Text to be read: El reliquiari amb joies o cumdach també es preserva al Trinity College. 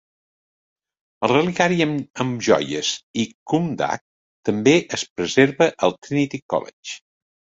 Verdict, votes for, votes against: rejected, 0, 2